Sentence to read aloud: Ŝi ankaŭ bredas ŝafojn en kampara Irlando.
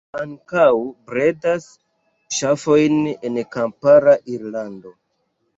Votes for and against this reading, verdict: 1, 2, rejected